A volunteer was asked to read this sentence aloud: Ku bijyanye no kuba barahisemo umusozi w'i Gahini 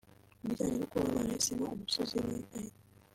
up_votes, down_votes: 1, 2